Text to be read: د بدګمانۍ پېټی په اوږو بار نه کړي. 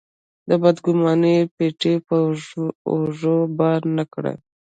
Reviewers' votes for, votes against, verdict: 0, 2, rejected